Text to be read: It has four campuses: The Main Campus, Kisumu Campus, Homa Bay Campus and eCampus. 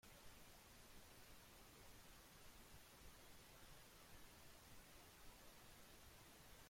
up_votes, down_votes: 0, 2